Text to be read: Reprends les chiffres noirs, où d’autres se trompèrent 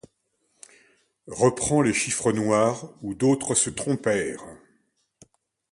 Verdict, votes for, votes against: accepted, 2, 0